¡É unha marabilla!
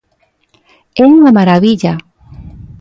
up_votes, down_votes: 3, 0